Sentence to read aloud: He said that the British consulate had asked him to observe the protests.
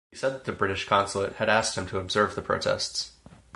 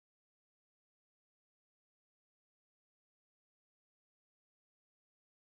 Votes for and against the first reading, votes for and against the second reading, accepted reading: 4, 0, 0, 2, first